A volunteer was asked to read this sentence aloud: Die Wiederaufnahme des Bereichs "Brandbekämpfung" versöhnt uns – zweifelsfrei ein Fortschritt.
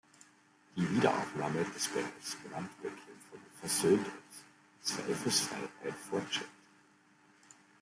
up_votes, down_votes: 1, 2